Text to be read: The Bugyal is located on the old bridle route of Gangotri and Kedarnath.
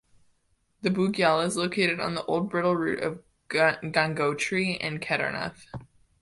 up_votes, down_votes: 0, 2